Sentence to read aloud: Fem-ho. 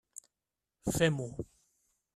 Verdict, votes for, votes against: accepted, 3, 0